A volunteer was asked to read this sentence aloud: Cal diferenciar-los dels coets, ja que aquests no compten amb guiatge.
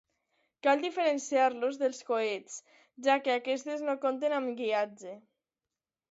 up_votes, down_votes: 1, 2